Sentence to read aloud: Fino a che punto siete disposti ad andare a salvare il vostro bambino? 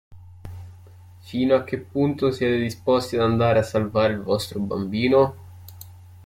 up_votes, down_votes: 1, 2